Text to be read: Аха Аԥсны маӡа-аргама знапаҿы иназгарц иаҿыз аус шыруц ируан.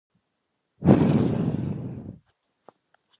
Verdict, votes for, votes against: rejected, 0, 2